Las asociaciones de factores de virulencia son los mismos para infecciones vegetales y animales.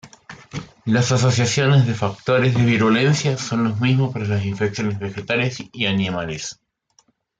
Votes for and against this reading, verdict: 1, 2, rejected